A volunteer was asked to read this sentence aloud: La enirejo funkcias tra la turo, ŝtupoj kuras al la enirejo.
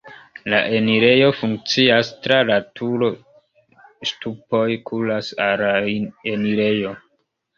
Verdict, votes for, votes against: rejected, 0, 2